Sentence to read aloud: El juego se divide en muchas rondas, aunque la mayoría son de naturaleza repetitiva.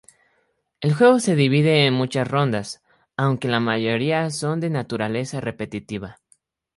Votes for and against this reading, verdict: 2, 0, accepted